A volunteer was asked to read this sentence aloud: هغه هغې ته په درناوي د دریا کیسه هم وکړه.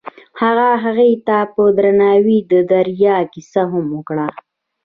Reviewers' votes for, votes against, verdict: 2, 0, accepted